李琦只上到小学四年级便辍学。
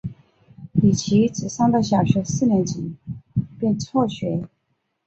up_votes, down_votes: 3, 0